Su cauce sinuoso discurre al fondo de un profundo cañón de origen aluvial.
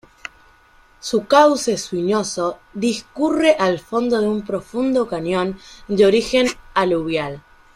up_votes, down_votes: 1, 2